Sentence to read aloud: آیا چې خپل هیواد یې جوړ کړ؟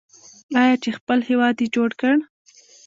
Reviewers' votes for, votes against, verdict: 0, 2, rejected